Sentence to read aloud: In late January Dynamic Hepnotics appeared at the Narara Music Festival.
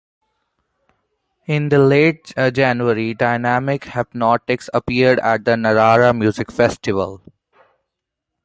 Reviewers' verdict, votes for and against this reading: rejected, 1, 2